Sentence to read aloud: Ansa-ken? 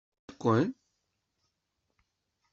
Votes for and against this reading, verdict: 0, 2, rejected